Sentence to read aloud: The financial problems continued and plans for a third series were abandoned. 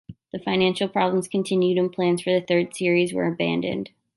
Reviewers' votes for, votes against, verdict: 2, 0, accepted